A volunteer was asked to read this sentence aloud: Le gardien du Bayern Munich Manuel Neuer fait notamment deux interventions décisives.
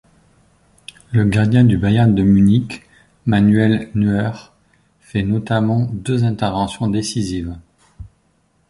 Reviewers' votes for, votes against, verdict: 1, 2, rejected